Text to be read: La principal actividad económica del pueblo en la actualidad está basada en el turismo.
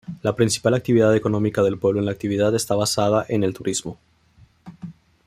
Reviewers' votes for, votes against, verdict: 1, 2, rejected